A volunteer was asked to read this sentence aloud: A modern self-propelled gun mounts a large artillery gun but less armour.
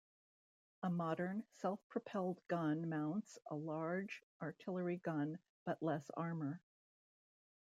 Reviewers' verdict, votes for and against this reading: accepted, 2, 0